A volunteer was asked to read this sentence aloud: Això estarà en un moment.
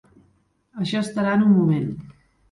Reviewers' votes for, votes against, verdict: 3, 0, accepted